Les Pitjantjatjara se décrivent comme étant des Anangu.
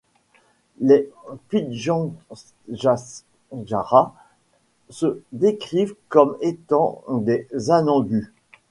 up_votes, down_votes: 2, 0